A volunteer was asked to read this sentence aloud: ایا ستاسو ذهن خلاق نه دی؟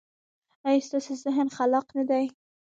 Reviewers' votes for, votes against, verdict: 2, 1, accepted